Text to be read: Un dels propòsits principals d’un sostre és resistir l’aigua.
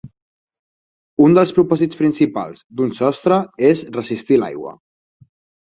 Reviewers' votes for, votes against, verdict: 4, 0, accepted